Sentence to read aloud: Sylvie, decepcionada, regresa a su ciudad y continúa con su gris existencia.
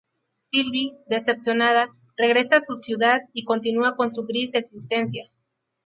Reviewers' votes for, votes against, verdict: 2, 2, rejected